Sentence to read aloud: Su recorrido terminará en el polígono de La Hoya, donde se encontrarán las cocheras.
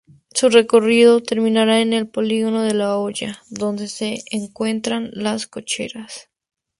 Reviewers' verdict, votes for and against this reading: rejected, 0, 4